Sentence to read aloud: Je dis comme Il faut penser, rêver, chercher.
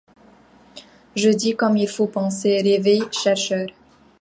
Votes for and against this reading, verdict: 1, 2, rejected